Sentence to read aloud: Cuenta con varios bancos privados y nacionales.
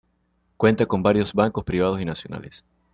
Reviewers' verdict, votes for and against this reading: accepted, 2, 0